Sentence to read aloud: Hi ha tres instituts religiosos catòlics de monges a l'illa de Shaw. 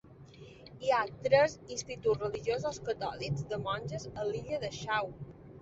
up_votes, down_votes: 2, 0